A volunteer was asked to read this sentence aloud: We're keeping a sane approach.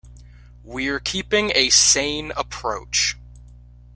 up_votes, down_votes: 3, 0